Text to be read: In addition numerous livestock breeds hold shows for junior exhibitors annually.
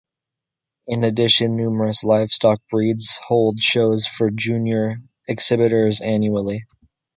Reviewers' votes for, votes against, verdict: 2, 0, accepted